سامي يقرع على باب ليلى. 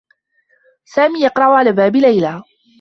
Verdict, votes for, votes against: accepted, 2, 0